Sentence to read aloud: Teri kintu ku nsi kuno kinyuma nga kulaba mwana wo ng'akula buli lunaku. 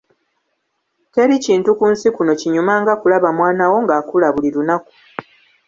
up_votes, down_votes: 2, 1